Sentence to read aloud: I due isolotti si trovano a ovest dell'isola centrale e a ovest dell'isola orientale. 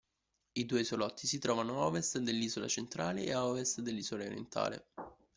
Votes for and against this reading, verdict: 0, 2, rejected